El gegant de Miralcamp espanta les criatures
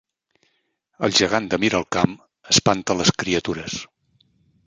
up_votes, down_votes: 2, 0